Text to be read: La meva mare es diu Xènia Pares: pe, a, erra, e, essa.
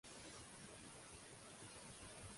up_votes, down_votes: 1, 2